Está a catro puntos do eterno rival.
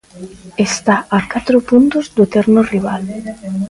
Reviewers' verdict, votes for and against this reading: rejected, 0, 2